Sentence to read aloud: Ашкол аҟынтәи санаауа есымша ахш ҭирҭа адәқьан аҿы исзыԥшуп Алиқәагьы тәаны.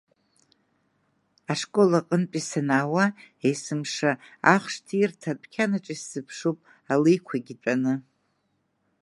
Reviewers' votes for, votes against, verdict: 1, 2, rejected